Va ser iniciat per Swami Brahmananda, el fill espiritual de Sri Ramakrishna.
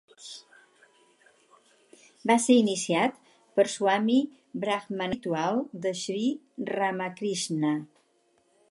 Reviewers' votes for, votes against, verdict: 2, 4, rejected